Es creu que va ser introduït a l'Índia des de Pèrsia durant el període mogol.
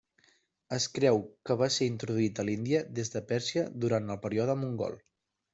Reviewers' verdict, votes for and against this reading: rejected, 0, 2